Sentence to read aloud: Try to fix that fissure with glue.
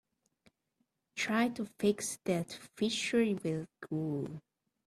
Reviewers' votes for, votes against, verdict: 1, 2, rejected